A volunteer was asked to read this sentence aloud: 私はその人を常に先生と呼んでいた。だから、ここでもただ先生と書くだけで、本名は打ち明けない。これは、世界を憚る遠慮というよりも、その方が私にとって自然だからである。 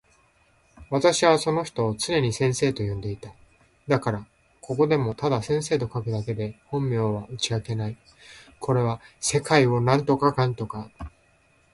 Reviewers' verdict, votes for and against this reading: rejected, 0, 2